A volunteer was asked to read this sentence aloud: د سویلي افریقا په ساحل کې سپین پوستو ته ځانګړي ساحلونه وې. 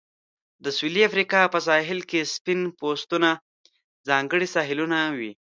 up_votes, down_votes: 0, 2